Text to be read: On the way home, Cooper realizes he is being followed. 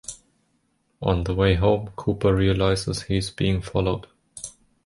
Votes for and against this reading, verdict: 2, 1, accepted